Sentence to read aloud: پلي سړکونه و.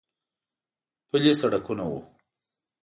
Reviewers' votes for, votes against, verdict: 2, 0, accepted